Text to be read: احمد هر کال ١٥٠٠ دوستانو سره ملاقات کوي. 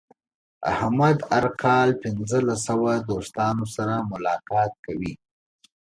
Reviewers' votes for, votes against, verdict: 0, 2, rejected